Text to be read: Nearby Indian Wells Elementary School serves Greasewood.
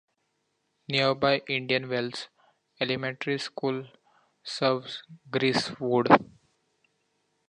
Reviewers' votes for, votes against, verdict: 2, 0, accepted